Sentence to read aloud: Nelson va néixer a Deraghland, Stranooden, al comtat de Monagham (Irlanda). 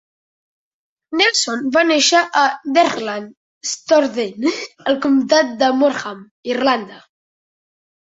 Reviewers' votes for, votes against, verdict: 0, 2, rejected